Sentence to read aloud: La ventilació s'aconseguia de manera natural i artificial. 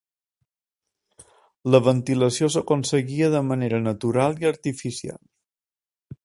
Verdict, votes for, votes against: accepted, 3, 0